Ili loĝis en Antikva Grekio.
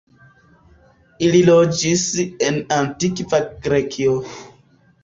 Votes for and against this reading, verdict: 3, 0, accepted